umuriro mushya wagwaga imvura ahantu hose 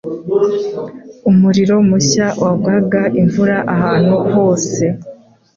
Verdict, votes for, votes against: accepted, 2, 0